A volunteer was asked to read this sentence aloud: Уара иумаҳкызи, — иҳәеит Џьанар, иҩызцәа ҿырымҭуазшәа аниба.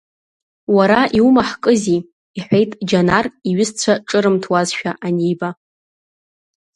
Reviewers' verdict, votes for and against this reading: accepted, 2, 0